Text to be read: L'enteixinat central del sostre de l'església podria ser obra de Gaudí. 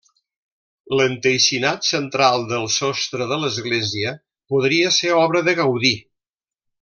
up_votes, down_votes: 2, 0